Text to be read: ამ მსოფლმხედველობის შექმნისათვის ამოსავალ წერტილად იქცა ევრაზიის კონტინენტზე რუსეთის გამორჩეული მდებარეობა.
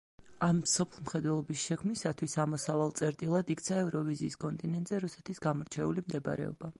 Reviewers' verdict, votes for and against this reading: rejected, 0, 2